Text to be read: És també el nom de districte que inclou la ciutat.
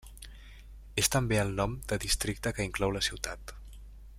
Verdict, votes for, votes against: accepted, 3, 0